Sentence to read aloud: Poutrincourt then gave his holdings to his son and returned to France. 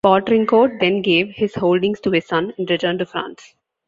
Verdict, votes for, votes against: accepted, 2, 1